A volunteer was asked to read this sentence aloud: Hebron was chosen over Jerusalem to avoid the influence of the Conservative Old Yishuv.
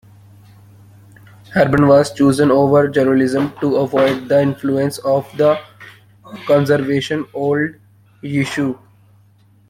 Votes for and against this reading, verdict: 0, 2, rejected